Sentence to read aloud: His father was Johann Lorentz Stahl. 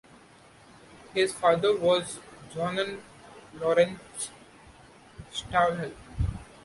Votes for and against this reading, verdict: 0, 2, rejected